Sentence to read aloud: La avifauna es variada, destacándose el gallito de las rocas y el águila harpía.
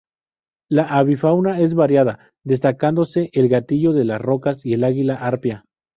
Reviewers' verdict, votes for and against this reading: rejected, 0, 2